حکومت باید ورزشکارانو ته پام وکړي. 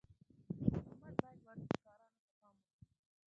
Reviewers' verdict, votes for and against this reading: rejected, 0, 2